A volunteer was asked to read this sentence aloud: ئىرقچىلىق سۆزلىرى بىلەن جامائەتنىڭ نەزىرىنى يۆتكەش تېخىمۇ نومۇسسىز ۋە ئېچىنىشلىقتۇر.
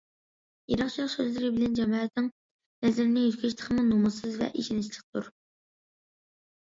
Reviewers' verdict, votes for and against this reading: rejected, 0, 2